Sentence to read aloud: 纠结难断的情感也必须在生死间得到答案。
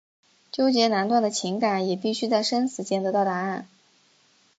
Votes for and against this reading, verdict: 3, 0, accepted